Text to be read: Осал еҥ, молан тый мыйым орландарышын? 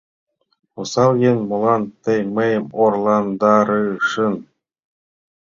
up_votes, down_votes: 0, 2